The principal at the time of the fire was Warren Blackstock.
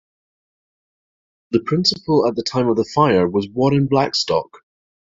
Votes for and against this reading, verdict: 1, 2, rejected